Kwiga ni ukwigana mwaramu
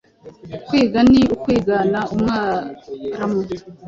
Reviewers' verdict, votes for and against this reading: rejected, 1, 2